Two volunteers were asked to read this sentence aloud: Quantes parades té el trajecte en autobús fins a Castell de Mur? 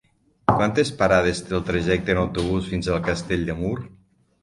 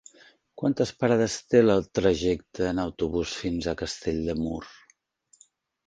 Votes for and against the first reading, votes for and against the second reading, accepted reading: 3, 6, 3, 0, second